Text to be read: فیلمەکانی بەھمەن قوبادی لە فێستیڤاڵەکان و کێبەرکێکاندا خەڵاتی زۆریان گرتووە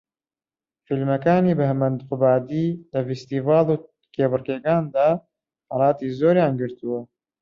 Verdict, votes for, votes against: rejected, 0, 2